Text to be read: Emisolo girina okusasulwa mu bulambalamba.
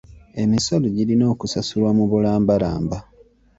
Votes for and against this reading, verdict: 2, 0, accepted